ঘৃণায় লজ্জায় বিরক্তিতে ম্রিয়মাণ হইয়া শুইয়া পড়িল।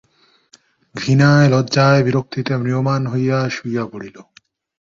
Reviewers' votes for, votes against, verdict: 0, 2, rejected